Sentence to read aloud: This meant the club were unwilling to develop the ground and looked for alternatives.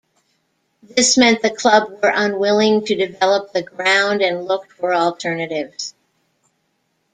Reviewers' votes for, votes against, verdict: 2, 0, accepted